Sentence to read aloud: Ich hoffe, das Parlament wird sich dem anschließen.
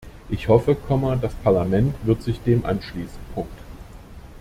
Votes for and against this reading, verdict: 1, 2, rejected